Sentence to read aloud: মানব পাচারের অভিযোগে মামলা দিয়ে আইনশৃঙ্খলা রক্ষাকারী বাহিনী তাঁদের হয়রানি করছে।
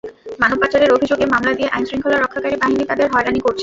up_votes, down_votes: 0, 2